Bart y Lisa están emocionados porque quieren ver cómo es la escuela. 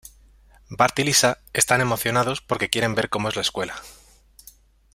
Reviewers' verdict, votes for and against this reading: accepted, 2, 0